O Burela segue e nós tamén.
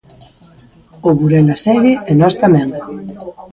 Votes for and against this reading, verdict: 2, 0, accepted